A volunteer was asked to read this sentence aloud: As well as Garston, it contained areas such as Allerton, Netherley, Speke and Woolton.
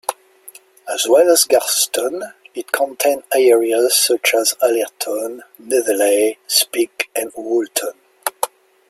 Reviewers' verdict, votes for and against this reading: accepted, 2, 0